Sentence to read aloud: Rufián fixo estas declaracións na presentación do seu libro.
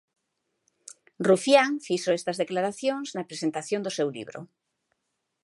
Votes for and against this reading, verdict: 2, 0, accepted